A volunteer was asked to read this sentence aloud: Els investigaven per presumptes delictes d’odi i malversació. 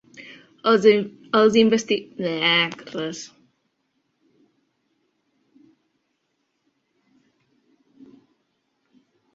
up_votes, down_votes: 0, 2